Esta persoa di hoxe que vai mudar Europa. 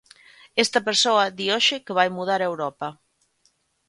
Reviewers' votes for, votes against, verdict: 2, 0, accepted